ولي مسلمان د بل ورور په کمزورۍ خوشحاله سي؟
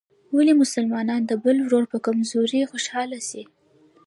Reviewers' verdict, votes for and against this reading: rejected, 0, 2